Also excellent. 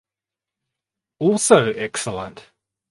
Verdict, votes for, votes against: accepted, 4, 0